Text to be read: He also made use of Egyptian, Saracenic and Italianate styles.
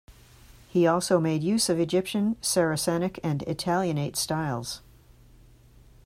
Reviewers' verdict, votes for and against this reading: accepted, 2, 0